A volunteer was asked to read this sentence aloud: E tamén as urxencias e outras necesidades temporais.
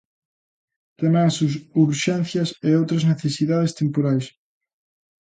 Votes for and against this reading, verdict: 0, 2, rejected